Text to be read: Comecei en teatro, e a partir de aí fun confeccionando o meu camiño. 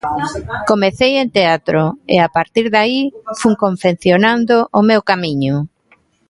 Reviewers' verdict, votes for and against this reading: accepted, 2, 0